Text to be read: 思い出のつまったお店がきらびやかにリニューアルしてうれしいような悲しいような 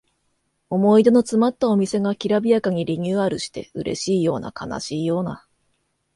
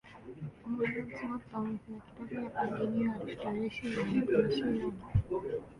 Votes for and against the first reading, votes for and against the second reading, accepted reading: 2, 0, 0, 2, first